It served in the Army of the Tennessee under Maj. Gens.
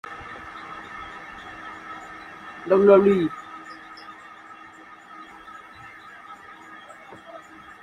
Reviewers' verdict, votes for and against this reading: rejected, 0, 2